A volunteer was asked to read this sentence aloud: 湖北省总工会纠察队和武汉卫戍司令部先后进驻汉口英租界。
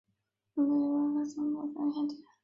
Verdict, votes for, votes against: rejected, 2, 4